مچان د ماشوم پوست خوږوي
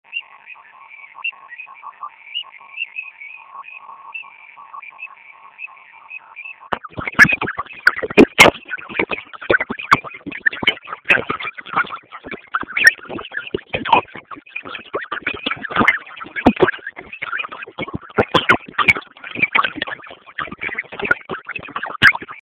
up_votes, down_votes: 0, 4